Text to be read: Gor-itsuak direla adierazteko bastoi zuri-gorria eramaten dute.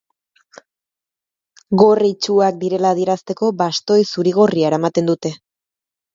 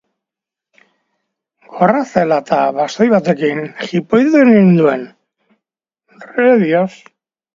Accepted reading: first